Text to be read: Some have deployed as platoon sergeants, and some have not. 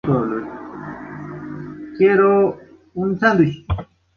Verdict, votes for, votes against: rejected, 0, 2